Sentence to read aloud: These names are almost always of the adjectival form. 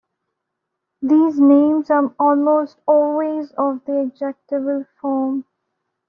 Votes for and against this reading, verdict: 1, 2, rejected